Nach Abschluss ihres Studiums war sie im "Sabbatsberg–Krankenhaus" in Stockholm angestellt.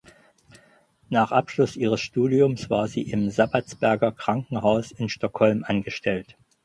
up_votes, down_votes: 0, 4